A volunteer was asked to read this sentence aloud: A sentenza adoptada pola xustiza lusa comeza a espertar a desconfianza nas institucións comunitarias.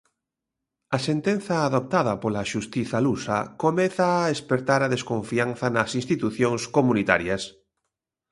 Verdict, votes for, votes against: accepted, 2, 0